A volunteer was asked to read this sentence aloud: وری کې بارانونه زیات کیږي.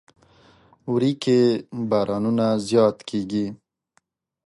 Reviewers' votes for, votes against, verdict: 3, 0, accepted